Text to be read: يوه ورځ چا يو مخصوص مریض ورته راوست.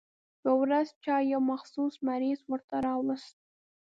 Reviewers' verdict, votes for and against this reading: accepted, 3, 0